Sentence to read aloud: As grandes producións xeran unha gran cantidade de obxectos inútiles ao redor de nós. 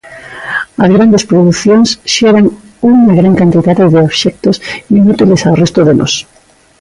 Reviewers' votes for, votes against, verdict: 0, 2, rejected